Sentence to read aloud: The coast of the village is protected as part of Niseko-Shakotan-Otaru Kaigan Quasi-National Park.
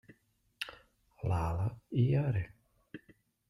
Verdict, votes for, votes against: rejected, 0, 2